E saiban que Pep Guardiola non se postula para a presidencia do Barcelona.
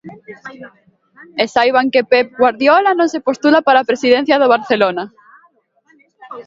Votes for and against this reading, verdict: 2, 0, accepted